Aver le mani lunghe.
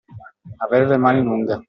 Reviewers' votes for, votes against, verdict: 2, 0, accepted